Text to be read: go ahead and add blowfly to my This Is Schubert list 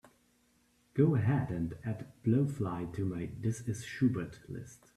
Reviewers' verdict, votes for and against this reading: accepted, 2, 0